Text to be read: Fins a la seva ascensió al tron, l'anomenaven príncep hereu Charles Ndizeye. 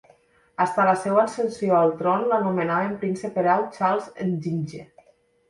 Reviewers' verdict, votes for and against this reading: rejected, 1, 3